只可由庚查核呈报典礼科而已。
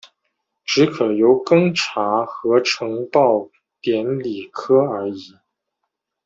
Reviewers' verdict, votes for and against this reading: accepted, 2, 0